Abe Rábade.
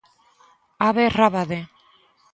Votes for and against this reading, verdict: 2, 0, accepted